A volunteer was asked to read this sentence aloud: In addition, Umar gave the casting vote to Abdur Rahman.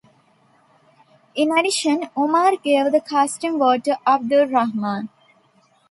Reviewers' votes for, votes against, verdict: 2, 0, accepted